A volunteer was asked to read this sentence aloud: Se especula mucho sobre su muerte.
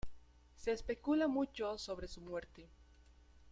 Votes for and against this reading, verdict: 2, 0, accepted